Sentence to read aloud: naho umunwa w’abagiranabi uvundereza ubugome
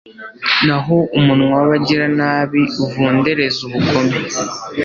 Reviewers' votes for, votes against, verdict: 2, 0, accepted